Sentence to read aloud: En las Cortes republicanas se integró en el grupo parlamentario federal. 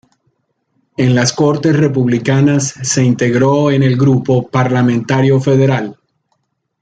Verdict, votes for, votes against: accepted, 2, 0